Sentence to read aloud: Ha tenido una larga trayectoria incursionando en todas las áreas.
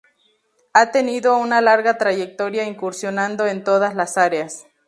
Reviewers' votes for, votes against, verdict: 2, 0, accepted